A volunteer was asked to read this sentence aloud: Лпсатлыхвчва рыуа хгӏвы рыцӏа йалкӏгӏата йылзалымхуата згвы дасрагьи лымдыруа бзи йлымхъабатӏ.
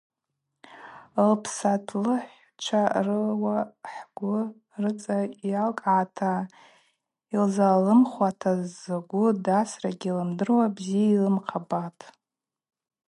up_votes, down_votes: 0, 2